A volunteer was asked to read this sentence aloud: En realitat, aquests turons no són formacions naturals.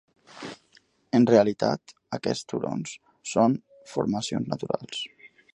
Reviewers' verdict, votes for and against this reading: rejected, 0, 2